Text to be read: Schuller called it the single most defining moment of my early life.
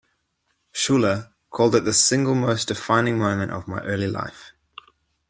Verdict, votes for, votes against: accepted, 2, 0